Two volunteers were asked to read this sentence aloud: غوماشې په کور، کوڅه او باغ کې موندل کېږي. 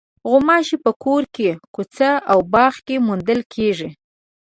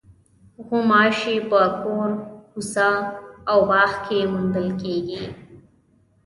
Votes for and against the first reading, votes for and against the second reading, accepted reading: 1, 2, 2, 0, second